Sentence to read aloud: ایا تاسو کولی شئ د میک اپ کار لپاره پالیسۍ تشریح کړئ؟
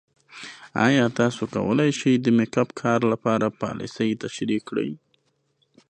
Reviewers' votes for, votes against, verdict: 2, 0, accepted